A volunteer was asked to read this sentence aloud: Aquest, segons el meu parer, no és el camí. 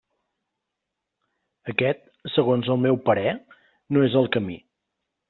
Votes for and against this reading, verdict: 2, 0, accepted